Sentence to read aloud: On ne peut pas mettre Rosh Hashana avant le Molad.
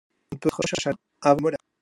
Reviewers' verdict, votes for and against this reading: rejected, 0, 2